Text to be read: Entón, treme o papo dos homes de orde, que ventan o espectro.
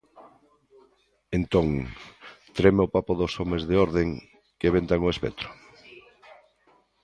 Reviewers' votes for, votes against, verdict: 0, 2, rejected